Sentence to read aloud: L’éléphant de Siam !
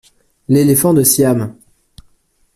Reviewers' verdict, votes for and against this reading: accepted, 2, 0